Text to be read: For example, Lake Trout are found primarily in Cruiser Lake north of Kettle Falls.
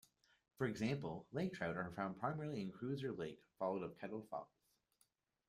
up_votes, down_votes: 0, 2